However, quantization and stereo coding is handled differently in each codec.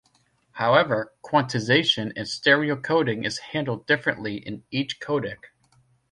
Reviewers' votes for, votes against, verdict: 2, 0, accepted